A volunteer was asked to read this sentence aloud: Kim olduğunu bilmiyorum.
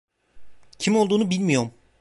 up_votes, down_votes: 0, 2